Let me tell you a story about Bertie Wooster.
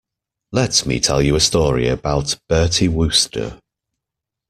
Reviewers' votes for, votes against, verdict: 2, 0, accepted